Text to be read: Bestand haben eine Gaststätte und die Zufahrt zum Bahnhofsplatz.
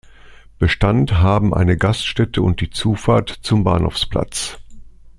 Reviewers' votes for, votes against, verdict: 2, 0, accepted